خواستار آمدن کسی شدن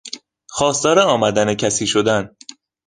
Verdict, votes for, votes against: accepted, 2, 0